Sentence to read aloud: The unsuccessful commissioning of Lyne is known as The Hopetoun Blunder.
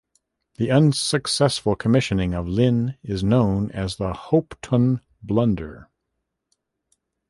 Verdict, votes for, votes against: accepted, 2, 1